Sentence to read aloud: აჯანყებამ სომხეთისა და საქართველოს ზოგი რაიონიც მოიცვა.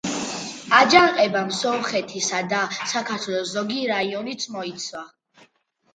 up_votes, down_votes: 2, 0